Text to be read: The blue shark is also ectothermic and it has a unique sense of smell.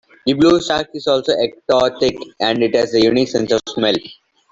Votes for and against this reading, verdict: 0, 2, rejected